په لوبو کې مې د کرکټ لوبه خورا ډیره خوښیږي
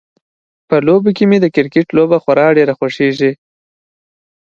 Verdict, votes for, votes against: accepted, 2, 0